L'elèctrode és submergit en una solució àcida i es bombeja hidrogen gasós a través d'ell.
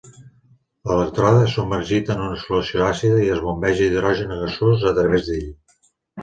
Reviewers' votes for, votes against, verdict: 1, 2, rejected